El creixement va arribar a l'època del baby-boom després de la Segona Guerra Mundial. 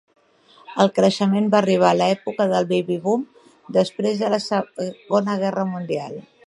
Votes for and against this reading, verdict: 2, 1, accepted